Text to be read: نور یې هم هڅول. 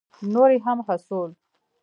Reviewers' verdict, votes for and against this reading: accepted, 2, 0